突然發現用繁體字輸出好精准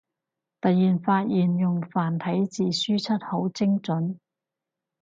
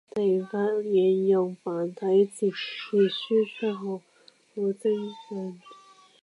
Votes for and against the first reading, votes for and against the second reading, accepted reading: 4, 0, 1, 2, first